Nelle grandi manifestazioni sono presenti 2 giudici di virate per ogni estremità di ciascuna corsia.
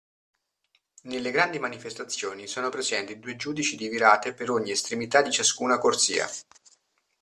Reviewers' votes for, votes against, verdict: 0, 2, rejected